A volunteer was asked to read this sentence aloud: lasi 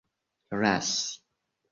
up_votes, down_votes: 2, 1